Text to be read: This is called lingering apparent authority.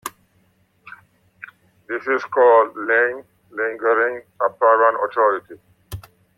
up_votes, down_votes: 0, 2